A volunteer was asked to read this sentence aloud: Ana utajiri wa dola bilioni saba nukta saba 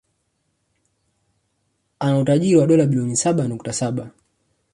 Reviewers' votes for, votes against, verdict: 2, 0, accepted